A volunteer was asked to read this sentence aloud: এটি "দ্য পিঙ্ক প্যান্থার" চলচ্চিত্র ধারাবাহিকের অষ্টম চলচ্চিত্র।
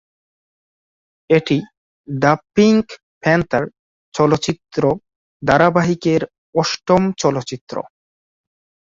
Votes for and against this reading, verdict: 2, 2, rejected